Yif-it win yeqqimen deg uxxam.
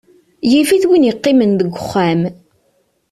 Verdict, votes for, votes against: accepted, 2, 0